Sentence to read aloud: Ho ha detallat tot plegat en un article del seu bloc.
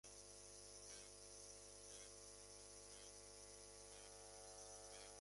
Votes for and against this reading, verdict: 0, 2, rejected